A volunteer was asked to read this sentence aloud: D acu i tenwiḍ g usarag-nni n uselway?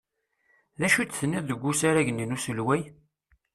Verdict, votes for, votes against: rejected, 1, 2